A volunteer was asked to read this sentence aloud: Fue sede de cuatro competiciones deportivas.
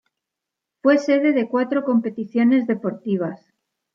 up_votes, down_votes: 2, 0